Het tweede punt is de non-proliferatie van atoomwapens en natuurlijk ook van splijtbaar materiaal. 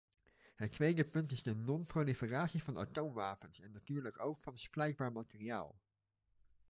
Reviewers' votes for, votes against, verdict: 2, 1, accepted